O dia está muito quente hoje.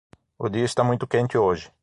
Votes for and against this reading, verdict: 6, 0, accepted